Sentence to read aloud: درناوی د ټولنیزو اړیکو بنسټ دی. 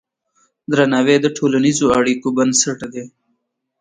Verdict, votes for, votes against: rejected, 1, 2